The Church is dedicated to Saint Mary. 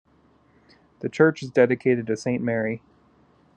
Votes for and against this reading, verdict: 2, 1, accepted